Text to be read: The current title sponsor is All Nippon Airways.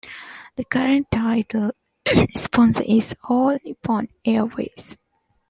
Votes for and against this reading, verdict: 0, 2, rejected